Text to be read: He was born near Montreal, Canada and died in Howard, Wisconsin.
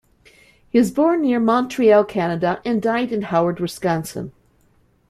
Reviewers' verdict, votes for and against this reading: accepted, 2, 1